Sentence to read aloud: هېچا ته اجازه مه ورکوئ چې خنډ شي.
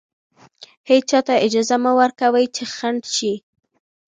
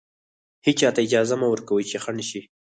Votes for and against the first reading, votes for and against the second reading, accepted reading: 2, 0, 2, 4, first